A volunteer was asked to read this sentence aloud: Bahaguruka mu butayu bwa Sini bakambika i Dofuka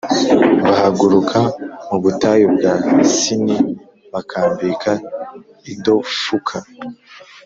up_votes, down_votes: 2, 0